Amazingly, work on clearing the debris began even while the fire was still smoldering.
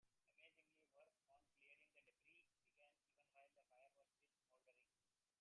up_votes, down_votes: 1, 2